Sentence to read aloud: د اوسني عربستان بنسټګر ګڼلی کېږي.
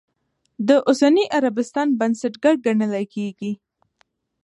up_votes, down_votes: 1, 2